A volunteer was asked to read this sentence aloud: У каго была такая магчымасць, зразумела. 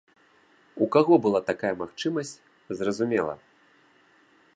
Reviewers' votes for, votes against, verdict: 2, 0, accepted